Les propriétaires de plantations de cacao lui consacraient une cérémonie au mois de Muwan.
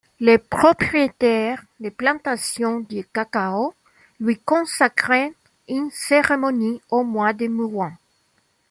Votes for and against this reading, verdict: 1, 2, rejected